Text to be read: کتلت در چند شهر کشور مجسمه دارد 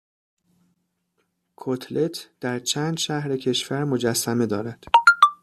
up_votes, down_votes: 1, 2